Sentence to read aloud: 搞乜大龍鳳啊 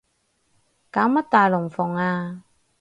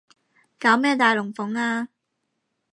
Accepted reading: first